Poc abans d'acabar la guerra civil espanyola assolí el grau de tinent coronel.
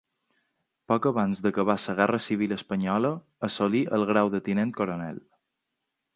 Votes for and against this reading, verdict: 1, 2, rejected